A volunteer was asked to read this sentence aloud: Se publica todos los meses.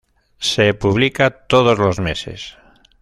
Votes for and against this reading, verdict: 2, 0, accepted